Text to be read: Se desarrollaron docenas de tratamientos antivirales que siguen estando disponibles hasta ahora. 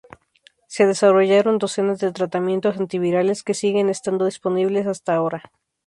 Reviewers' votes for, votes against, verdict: 0, 2, rejected